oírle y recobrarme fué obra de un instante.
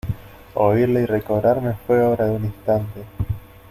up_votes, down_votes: 2, 0